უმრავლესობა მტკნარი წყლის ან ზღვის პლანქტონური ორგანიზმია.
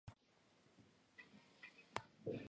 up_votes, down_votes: 0, 2